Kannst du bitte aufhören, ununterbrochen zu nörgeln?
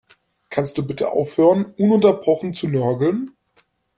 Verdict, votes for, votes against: accepted, 2, 0